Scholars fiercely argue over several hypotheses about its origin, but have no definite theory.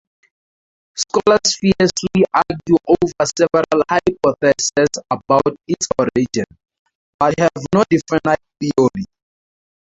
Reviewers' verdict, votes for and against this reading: rejected, 0, 2